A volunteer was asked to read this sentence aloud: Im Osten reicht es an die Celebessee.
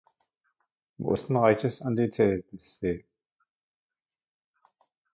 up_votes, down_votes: 0, 2